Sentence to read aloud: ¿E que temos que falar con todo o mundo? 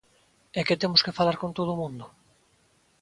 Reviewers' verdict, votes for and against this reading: accepted, 2, 1